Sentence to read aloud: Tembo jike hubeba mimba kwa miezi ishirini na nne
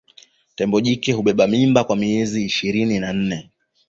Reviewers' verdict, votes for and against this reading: accepted, 2, 0